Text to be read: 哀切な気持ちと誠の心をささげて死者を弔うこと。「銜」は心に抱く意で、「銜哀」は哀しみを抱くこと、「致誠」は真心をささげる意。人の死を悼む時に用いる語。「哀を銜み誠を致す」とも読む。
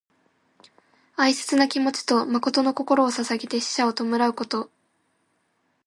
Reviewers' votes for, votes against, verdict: 0, 2, rejected